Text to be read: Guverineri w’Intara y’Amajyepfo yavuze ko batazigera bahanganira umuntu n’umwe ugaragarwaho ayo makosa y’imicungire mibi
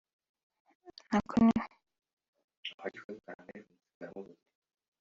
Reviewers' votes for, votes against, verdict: 0, 2, rejected